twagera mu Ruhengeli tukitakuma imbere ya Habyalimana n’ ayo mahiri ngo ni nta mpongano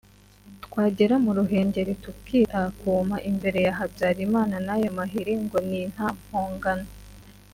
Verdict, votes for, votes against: accepted, 2, 0